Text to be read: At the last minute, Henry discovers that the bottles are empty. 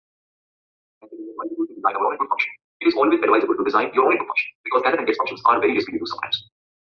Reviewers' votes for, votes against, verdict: 0, 2, rejected